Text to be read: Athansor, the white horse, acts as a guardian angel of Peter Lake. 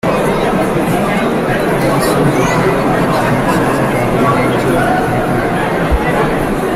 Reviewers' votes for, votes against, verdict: 0, 2, rejected